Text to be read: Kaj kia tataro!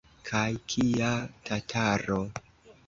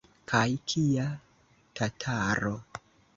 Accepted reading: second